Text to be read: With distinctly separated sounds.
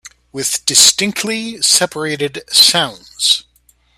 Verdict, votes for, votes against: accepted, 2, 0